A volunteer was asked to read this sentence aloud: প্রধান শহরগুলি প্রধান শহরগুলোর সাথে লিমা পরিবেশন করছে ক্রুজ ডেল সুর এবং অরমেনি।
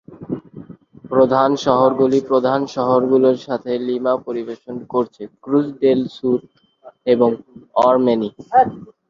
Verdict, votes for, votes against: rejected, 1, 2